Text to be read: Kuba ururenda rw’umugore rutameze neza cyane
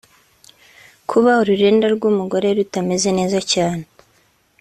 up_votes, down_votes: 2, 0